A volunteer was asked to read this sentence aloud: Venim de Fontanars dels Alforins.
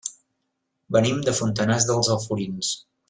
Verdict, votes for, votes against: accepted, 2, 0